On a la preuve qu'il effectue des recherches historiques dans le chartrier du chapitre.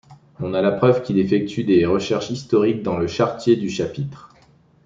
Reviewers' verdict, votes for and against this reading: accepted, 2, 0